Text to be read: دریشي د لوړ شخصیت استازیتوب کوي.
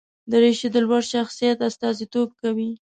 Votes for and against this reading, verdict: 2, 0, accepted